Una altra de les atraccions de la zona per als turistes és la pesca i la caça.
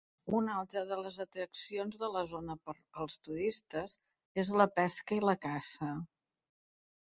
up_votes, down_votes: 1, 2